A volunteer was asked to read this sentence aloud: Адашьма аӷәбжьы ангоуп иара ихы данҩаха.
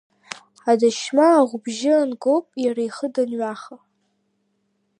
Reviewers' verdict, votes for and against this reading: rejected, 1, 2